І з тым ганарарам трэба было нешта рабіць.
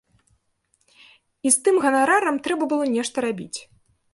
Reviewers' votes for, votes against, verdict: 2, 0, accepted